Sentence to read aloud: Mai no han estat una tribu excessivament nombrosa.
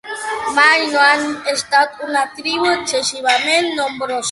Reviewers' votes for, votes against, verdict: 0, 3, rejected